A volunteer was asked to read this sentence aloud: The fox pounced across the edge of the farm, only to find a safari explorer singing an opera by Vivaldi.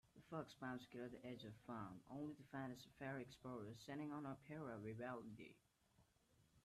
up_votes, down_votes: 1, 2